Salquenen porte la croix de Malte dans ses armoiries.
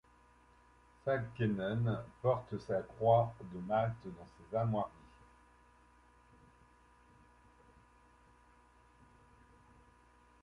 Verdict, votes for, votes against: rejected, 0, 2